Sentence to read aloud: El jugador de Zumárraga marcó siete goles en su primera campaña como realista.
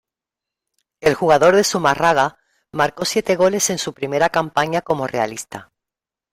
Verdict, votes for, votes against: rejected, 0, 2